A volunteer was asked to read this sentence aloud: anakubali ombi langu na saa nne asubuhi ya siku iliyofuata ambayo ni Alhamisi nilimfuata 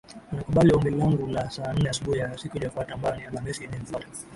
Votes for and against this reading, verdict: 0, 2, rejected